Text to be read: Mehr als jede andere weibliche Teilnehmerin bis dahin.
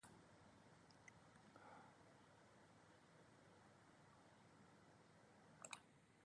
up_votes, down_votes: 0, 2